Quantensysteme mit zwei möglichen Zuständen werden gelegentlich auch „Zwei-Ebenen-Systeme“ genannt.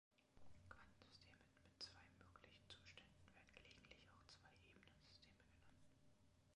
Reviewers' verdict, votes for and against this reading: rejected, 0, 2